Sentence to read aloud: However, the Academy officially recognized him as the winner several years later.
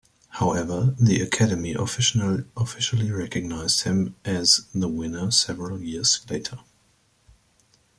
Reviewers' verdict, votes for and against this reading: rejected, 1, 2